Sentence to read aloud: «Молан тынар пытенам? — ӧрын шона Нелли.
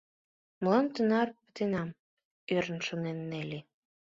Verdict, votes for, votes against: rejected, 1, 2